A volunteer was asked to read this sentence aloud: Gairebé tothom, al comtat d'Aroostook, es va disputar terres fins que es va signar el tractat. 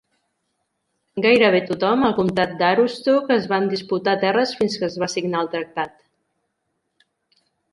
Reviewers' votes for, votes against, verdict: 1, 2, rejected